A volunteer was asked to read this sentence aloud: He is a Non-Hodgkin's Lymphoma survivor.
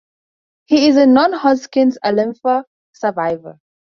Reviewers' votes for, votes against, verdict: 0, 4, rejected